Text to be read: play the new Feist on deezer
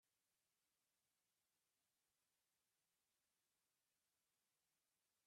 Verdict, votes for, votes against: rejected, 0, 2